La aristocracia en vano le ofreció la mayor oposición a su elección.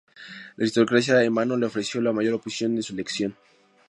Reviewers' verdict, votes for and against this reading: rejected, 0, 2